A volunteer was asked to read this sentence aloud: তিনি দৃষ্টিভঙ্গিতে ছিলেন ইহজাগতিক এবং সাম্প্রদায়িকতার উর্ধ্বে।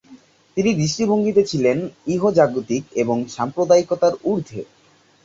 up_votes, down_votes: 4, 0